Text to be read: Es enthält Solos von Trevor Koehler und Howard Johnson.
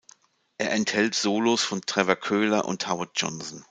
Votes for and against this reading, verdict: 1, 2, rejected